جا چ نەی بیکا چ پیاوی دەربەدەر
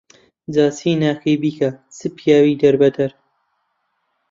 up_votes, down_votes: 0, 2